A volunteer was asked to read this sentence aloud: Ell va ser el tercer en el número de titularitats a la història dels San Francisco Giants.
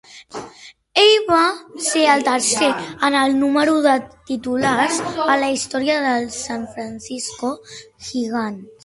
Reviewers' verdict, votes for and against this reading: rejected, 0, 4